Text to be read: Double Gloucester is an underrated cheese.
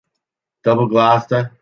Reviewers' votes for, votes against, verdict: 0, 2, rejected